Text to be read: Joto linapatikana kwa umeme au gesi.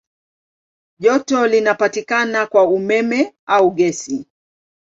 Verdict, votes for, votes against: accepted, 2, 0